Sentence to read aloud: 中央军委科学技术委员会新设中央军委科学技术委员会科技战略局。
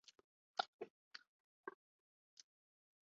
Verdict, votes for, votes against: rejected, 0, 2